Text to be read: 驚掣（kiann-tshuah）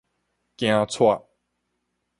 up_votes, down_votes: 4, 0